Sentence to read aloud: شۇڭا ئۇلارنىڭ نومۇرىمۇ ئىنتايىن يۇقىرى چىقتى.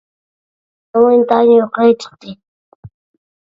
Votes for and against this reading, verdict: 0, 2, rejected